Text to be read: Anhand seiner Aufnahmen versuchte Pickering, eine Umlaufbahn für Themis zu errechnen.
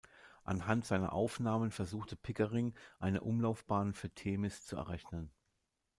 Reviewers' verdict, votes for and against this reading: accepted, 2, 0